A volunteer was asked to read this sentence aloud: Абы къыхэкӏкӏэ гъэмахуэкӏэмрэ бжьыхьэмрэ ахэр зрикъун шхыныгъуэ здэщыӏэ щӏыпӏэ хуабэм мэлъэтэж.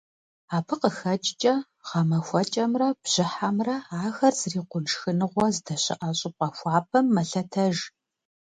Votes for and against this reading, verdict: 2, 0, accepted